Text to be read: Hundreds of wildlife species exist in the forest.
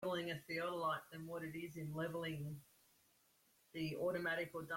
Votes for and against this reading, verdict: 0, 2, rejected